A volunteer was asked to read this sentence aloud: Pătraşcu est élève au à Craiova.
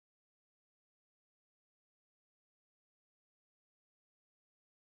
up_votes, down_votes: 0, 2